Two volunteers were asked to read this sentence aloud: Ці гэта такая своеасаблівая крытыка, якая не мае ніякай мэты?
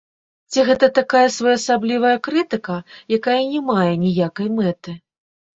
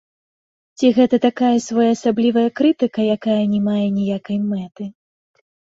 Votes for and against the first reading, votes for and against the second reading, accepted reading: 1, 2, 2, 0, second